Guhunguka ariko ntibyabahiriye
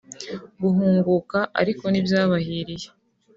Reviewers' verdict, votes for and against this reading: accepted, 2, 0